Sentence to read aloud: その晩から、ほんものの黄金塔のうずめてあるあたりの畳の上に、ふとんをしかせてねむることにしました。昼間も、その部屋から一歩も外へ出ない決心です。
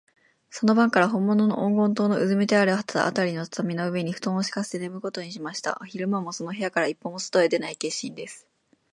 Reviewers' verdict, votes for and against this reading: rejected, 1, 2